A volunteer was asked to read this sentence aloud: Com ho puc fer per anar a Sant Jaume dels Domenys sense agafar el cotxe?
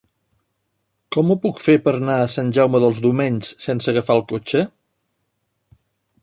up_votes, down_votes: 0, 2